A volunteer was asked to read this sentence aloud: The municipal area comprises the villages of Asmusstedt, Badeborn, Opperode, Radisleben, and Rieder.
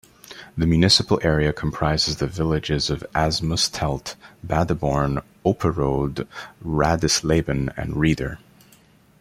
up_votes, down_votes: 2, 0